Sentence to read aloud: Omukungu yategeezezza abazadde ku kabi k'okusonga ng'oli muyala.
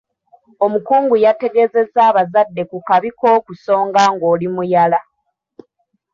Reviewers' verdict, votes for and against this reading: accepted, 2, 0